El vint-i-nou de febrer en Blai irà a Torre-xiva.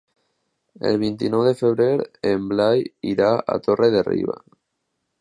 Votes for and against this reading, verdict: 0, 2, rejected